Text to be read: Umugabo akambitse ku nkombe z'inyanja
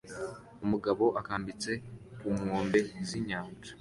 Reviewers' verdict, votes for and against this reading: accepted, 2, 0